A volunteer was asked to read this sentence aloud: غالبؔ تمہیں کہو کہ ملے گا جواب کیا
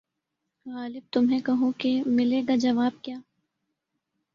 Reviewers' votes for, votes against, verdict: 1, 2, rejected